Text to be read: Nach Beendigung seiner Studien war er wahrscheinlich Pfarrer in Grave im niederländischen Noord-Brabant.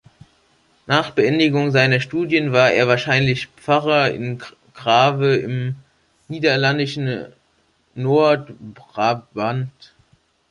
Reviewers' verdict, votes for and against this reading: rejected, 0, 2